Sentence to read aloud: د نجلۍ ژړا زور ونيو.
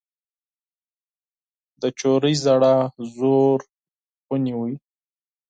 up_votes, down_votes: 0, 4